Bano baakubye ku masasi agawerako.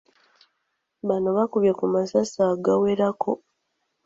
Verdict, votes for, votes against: accepted, 2, 0